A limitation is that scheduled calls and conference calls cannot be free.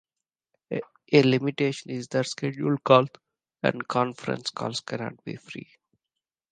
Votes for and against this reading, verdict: 2, 0, accepted